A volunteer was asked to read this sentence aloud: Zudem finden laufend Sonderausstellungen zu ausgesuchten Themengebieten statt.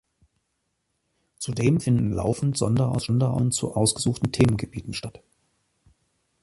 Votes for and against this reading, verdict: 1, 2, rejected